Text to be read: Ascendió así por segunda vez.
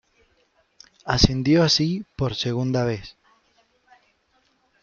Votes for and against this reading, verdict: 2, 0, accepted